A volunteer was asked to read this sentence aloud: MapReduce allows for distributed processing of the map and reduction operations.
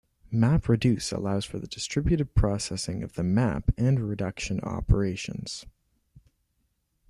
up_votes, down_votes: 1, 2